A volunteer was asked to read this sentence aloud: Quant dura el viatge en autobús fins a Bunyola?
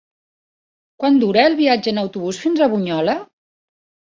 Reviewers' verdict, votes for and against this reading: accepted, 5, 0